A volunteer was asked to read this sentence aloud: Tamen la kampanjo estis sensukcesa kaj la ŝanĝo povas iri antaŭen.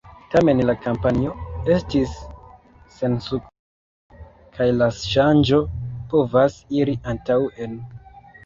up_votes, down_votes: 0, 2